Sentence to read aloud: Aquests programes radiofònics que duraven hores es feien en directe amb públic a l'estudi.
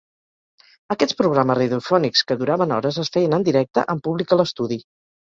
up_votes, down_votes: 2, 1